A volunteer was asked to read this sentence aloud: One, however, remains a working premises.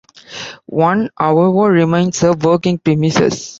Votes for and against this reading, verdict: 0, 2, rejected